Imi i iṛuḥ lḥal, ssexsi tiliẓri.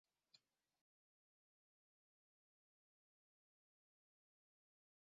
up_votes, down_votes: 0, 2